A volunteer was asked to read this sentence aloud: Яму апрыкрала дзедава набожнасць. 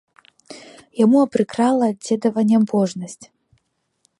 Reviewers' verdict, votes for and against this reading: rejected, 1, 3